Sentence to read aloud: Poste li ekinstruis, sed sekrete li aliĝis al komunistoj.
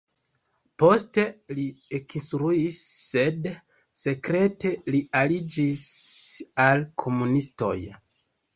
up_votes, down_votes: 1, 2